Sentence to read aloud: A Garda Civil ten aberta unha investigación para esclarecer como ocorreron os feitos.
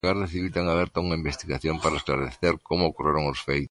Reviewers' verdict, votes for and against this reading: rejected, 0, 2